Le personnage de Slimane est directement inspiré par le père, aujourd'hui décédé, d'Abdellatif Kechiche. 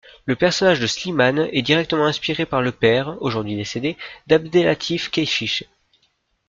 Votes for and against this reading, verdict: 2, 0, accepted